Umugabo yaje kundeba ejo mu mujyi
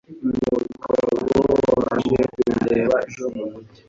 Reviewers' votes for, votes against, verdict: 0, 3, rejected